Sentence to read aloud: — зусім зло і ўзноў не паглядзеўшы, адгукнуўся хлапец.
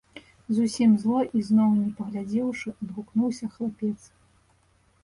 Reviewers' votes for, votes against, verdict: 1, 2, rejected